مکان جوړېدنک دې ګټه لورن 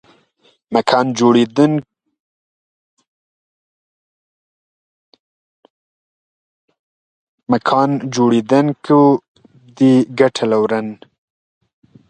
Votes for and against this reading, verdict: 0, 2, rejected